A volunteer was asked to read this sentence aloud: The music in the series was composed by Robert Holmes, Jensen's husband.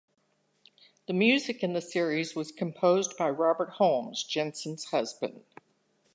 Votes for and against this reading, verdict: 2, 0, accepted